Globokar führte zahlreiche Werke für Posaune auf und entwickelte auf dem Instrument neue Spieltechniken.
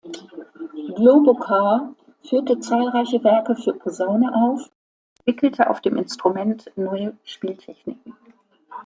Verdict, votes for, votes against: rejected, 1, 2